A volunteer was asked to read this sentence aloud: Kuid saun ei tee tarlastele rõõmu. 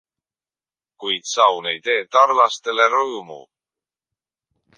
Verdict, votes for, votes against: accepted, 2, 0